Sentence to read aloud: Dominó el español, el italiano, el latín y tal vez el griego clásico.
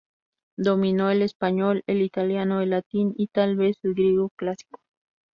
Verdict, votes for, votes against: accepted, 2, 0